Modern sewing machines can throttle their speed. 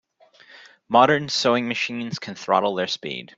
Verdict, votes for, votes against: accepted, 2, 0